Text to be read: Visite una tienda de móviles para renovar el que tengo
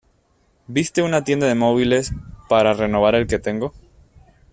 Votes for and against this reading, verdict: 1, 2, rejected